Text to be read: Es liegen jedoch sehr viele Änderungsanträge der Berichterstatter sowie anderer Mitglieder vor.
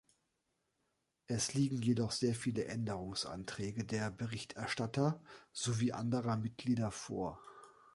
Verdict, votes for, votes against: accepted, 2, 0